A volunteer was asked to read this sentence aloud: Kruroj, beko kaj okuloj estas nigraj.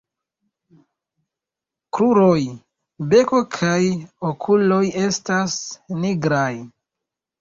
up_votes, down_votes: 2, 0